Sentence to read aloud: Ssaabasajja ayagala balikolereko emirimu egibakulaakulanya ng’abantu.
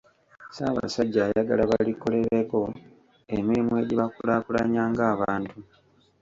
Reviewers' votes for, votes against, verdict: 1, 2, rejected